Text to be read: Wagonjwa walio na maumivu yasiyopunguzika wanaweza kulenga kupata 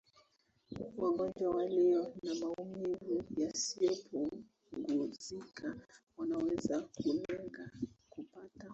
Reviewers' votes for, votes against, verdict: 0, 2, rejected